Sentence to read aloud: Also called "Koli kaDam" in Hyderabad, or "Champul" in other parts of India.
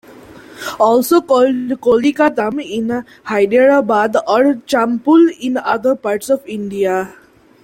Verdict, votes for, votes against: accepted, 2, 0